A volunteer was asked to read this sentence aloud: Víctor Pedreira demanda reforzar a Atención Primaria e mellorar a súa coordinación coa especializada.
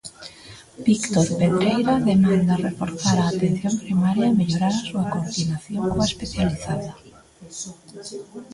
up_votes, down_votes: 1, 2